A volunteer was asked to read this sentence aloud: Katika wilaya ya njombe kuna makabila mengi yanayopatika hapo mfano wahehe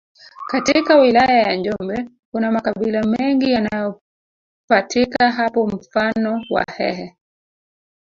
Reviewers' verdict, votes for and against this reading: accepted, 2, 1